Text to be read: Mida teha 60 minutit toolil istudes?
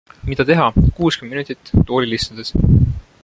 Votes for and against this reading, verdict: 0, 2, rejected